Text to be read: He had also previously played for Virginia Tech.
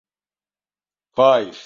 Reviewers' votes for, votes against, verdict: 0, 2, rejected